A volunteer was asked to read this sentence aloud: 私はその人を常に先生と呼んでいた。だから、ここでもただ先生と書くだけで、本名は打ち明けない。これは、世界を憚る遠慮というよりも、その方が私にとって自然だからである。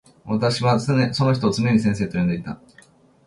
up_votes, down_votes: 0, 2